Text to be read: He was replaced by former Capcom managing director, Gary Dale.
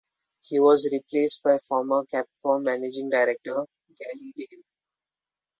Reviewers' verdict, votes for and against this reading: rejected, 0, 2